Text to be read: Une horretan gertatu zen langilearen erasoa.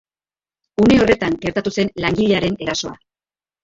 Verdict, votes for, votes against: rejected, 1, 2